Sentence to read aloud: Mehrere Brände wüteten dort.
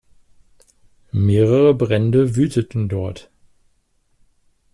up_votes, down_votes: 2, 0